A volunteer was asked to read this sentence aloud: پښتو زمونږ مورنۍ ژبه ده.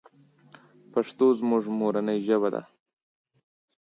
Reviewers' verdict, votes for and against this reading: accepted, 3, 0